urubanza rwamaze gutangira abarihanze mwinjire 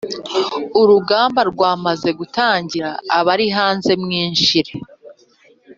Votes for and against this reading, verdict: 1, 2, rejected